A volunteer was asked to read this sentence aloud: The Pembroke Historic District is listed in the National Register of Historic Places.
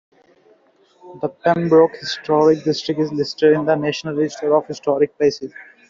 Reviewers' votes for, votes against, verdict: 2, 0, accepted